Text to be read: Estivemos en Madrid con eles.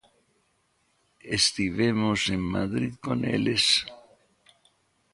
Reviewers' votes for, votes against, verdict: 1, 2, rejected